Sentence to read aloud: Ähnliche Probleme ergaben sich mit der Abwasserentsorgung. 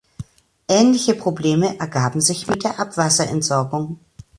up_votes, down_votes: 2, 0